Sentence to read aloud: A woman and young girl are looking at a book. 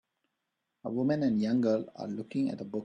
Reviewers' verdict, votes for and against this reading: accepted, 3, 0